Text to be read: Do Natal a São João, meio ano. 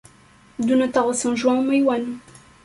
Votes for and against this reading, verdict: 1, 2, rejected